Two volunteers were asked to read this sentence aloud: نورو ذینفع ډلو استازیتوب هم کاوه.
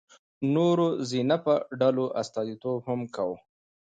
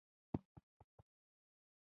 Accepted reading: first